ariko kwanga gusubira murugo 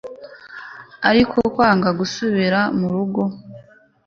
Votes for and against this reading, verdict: 2, 0, accepted